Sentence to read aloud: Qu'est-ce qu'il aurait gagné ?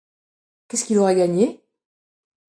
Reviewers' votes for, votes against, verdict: 2, 0, accepted